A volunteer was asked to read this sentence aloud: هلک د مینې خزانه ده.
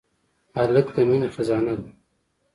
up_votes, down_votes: 2, 0